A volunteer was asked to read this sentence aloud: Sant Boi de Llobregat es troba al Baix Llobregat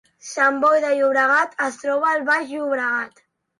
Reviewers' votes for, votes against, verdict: 2, 0, accepted